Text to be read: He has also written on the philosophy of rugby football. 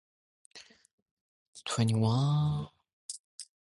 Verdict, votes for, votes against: rejected, 0, 2